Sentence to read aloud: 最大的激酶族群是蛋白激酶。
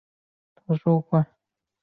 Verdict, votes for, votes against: rejected, 1, 2